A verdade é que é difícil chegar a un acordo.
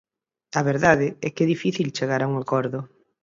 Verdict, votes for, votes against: accepted, 4, 0